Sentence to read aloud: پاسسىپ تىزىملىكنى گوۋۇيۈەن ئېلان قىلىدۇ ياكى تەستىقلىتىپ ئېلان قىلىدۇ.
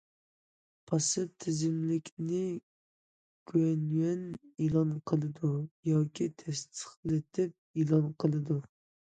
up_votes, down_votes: 0, 2